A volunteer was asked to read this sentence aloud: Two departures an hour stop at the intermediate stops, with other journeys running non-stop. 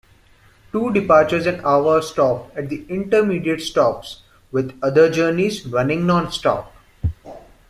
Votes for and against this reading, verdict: 2, 0, accepted